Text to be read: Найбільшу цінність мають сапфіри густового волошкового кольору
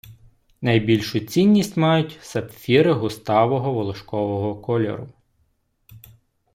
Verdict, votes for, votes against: rejected, 1, 2